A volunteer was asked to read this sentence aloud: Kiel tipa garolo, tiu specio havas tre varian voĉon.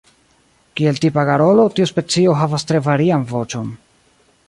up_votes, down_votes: 2, 1